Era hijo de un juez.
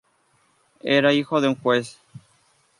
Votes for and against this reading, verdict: 2, 0, accepted